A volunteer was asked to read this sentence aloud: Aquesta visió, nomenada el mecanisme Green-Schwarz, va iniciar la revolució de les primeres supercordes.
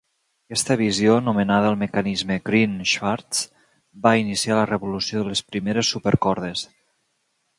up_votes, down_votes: 3, 0